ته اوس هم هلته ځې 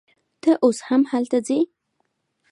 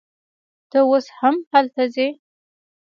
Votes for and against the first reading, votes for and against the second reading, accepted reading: 2, 0, 0, 2, first